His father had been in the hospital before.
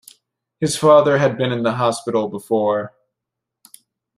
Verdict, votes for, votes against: accepted, 2, 1